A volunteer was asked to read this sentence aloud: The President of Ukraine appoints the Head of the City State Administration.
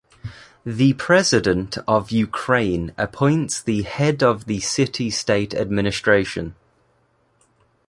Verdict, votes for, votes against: accepted, 2, 0